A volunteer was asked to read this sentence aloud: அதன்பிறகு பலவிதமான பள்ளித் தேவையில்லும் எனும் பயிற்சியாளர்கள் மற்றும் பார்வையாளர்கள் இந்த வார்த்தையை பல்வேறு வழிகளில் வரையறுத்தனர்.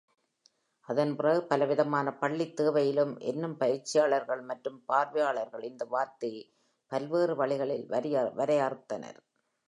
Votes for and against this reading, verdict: 3, 4, rejected